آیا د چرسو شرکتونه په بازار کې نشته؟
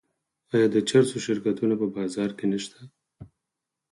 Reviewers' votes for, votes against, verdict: 4, 0, accepted